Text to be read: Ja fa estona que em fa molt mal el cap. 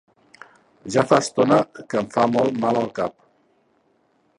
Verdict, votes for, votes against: rejected, 0, 2